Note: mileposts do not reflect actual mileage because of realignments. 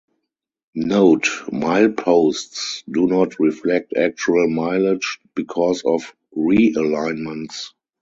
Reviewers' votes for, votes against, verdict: 4, 0, accepted